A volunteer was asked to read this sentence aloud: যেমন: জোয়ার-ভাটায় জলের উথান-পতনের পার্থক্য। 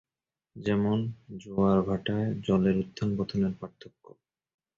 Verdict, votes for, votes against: accepted, 3, 0